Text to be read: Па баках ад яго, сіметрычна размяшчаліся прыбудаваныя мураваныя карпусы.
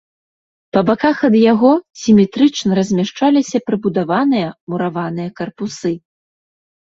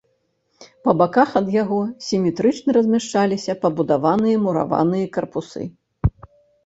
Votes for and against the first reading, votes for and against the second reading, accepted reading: 2, 0, 0, 2, first